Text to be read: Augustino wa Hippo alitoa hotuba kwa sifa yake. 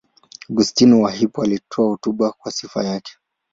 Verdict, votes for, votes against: accepted, 2, 0